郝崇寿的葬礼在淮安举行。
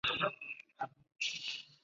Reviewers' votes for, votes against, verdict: 0, 2, rejected